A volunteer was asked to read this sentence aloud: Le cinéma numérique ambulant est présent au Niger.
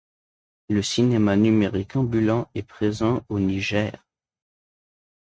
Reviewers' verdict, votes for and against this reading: accepted, 2, 0